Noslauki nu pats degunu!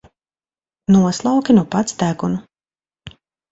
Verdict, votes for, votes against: rejected, 1, 2